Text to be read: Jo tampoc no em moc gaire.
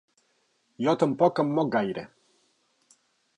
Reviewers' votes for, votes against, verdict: 0, 4, rejected